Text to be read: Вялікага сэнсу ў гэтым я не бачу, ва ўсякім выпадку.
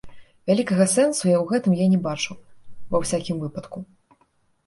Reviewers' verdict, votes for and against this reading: rejected, 0, 2